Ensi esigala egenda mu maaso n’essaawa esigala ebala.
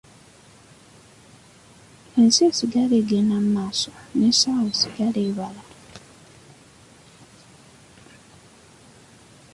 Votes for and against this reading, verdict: 2, 1, accepted